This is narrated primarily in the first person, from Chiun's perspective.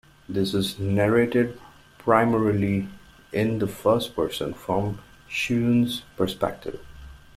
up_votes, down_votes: 2, 0